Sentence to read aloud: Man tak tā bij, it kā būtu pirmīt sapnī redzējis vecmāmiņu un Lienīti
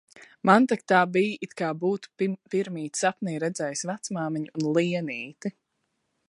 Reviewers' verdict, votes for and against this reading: rejected, 1, 2